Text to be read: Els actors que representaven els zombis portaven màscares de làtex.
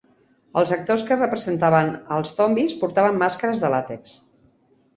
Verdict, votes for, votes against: rejected, 1, 2